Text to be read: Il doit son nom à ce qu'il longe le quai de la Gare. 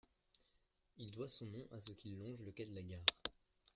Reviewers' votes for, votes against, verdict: 0, 3, rejected